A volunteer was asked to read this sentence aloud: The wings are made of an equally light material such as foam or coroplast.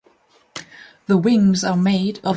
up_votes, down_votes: 0, 2